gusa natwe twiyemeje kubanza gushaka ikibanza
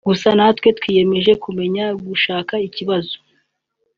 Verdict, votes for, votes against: rejected, 1, 2